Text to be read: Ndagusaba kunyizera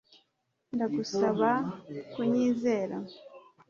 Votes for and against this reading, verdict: 2, 0, accepted